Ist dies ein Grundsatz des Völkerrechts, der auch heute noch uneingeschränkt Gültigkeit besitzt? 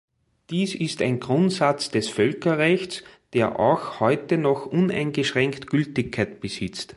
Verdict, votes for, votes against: rejected, 0, 2